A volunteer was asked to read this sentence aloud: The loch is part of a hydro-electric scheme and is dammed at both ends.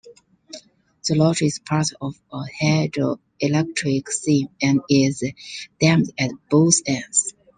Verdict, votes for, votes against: rejected, 1, 2